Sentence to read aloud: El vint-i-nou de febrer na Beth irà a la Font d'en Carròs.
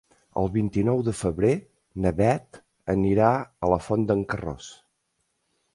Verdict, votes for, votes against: rejected, 1, 2